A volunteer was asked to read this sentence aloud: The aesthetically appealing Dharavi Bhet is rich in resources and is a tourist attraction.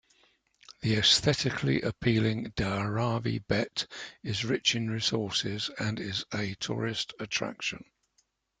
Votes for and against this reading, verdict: 2, 0, accepted